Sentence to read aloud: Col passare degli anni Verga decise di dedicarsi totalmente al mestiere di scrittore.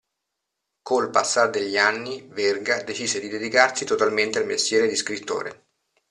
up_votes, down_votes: 1, 2